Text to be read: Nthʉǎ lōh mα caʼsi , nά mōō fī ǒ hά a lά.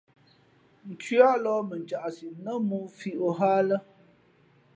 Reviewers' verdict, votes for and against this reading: accepted, 2, 0